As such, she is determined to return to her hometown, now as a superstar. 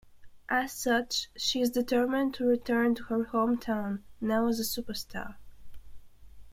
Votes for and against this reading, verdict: 2, 0, accepted